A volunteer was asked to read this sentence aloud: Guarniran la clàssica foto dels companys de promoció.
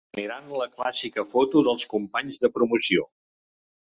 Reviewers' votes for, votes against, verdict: 1, 2, rejected